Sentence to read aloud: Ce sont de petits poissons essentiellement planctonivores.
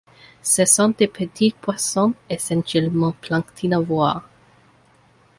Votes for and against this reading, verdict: 1, 2, rejected